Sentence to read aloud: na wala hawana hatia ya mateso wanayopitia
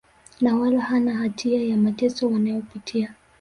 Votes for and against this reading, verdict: 2, 0, accepted